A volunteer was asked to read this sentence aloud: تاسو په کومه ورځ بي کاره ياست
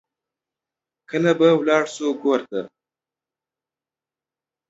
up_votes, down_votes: 0, 2